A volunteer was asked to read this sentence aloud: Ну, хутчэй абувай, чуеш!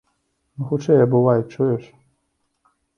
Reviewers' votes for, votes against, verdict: 1, 2, rejected